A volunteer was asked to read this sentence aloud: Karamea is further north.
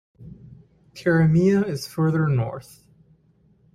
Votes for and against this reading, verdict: 2, 0, accepted